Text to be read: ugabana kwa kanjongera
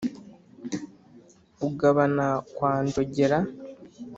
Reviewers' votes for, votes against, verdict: 1, 2, rejected